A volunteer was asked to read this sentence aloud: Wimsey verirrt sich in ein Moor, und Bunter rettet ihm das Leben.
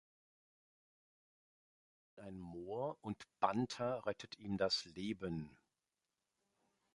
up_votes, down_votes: 0, 2